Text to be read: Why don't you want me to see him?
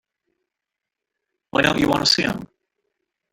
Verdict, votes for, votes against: rejected, 0, 2